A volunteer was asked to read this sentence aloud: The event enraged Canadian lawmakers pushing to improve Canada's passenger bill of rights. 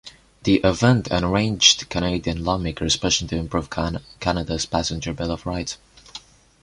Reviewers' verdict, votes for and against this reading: rejected, 1, 2